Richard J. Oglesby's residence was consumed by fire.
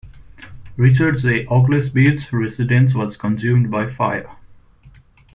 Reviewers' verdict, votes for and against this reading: rejected, 1, 2